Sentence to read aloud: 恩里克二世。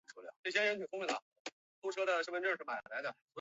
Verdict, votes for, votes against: rejected, 0, 2